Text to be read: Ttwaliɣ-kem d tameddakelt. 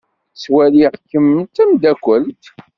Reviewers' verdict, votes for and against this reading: accepted, 2, 0